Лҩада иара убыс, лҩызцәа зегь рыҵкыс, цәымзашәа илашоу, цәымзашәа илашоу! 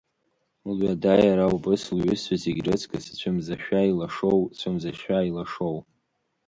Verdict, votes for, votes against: accepted, 2, 0